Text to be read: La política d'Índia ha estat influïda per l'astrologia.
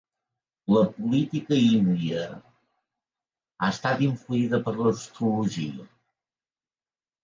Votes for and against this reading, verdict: 2, 1, accepted